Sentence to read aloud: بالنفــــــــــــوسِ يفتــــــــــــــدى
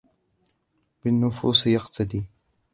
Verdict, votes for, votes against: rejected, 0, 2